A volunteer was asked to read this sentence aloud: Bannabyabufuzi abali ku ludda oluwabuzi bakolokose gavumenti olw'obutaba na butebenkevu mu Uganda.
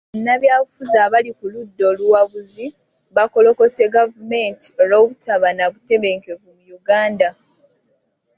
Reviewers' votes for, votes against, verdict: 1, 2, rejected